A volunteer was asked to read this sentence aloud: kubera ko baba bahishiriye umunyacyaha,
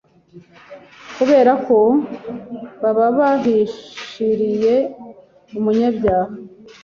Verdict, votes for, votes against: accepted, 2, 1